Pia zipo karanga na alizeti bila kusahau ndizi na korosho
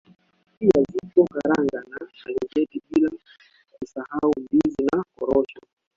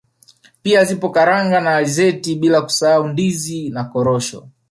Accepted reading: second